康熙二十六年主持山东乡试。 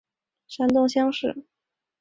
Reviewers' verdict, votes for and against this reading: rejected, 0, 2